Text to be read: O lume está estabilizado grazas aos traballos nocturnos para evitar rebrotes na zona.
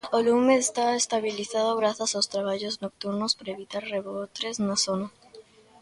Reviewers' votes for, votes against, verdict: 1, 2, rejected